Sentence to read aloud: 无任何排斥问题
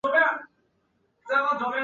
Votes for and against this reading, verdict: 0, 4, rejected